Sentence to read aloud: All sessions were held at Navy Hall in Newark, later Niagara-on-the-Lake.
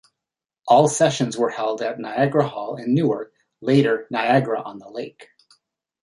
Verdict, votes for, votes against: rejected, 0, 2